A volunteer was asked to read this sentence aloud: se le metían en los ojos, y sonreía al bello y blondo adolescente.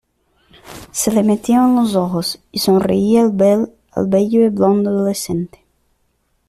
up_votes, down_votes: 1, 2